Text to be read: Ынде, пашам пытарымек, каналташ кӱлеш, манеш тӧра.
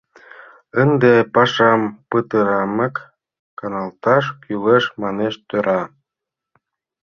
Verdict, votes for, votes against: rejected, 1, 2